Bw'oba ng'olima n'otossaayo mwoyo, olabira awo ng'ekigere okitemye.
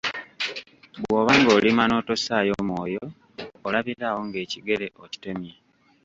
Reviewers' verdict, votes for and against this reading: rejected, 1, 2